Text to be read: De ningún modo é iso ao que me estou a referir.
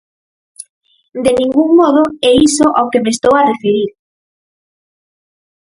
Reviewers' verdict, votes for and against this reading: accepted, 4, 0